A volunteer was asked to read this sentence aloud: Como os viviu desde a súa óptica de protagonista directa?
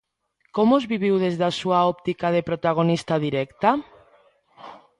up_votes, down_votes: 2, 0